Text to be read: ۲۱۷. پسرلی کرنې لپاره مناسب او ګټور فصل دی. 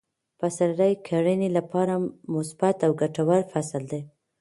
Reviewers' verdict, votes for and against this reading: rejected, 0, 2